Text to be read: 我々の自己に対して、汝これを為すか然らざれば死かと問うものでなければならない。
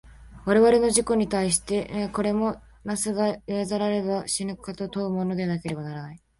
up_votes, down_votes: 0, 2